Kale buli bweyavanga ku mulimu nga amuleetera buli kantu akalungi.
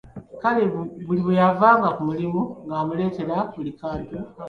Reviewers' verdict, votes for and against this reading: rejected, 1, 2